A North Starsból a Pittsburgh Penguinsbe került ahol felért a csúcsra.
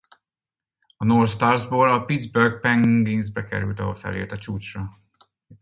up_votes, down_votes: 0, 4